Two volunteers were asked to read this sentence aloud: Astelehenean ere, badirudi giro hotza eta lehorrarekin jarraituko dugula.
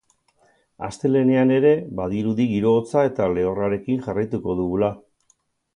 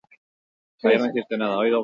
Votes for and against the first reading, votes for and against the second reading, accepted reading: 10, 0, 0, 2, first